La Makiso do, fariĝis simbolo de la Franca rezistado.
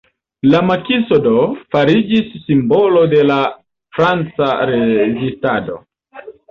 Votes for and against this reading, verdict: 2, 0, accepted